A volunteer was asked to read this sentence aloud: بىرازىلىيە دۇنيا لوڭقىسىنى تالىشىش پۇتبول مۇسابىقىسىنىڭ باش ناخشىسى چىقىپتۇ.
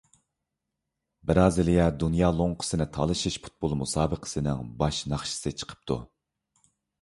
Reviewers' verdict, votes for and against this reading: accepted, 2, 0